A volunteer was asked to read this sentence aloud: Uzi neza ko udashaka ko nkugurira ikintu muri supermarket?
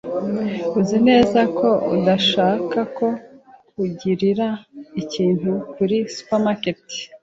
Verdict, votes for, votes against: rejected, 1, 2